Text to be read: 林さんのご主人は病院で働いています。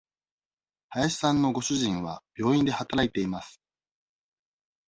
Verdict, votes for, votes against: accepted, 2, 0